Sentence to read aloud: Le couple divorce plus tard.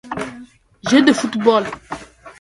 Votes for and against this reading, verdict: 0, 2, rejected